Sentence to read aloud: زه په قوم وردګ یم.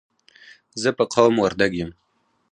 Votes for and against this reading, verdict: 0, 4, rejected